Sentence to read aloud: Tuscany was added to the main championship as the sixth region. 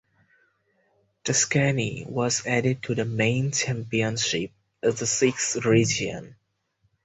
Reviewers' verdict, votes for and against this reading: accepted, 4, 0